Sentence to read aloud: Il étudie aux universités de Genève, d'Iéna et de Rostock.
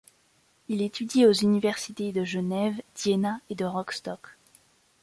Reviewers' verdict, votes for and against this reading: rejected, 1, 2